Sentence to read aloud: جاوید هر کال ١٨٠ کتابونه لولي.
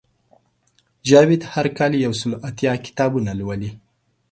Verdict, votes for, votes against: rejected, 0, 2